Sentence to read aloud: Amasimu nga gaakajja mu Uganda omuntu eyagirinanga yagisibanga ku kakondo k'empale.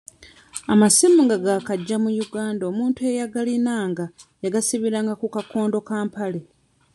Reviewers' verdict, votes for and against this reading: rejected, 0, 2